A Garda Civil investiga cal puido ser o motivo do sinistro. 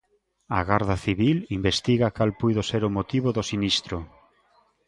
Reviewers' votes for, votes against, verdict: 2, 0, accepted